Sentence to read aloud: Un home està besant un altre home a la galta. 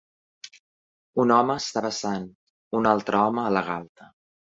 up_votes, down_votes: 1, 2